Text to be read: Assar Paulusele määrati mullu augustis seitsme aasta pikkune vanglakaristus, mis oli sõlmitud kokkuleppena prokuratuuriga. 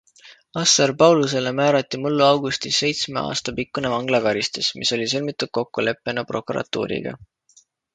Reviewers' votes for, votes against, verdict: 2, 0, accepted